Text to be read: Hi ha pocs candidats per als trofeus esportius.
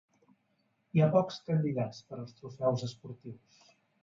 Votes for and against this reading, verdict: 1, 2, rejected